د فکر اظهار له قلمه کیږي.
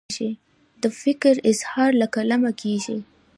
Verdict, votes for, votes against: accepted, 2, 0